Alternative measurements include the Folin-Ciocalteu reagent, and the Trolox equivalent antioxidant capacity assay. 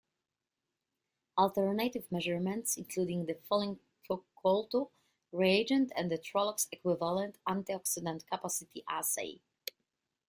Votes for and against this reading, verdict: 1, 2, rejected